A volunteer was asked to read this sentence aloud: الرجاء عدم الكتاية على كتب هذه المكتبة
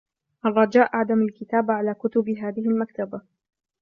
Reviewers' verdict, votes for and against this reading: rejected, 1, 2